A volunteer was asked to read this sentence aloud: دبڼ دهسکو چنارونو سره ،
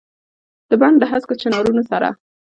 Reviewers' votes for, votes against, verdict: 1, 2, rejected